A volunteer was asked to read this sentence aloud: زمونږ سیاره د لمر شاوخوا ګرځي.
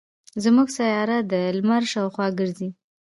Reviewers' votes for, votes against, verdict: 2, 1, accepted